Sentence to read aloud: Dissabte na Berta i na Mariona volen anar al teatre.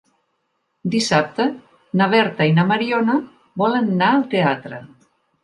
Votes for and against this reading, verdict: 0, 3, rejected